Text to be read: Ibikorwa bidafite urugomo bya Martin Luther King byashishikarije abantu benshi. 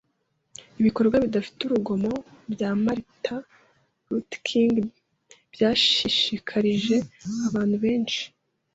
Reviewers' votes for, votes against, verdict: 2, 0, accepted